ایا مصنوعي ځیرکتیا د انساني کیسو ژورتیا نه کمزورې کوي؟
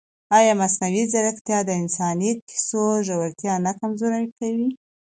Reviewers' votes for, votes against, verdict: 2, 0, accepted